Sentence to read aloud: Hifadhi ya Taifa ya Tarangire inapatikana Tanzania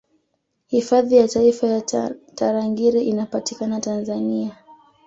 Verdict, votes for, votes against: rejected, 1, 2